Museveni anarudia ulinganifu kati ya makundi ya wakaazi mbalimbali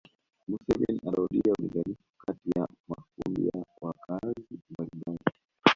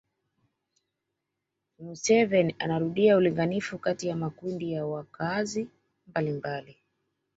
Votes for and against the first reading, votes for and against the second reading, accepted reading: 1, 2, 2, 0, second